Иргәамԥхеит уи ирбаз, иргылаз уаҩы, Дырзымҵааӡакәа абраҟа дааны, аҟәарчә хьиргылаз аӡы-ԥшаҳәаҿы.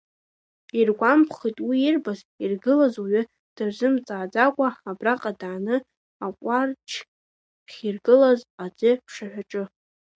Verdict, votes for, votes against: rejected, 1, 3